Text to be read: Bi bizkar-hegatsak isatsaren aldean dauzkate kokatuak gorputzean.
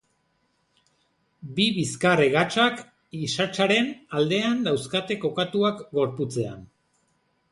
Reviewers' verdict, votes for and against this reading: accepted, 2, 0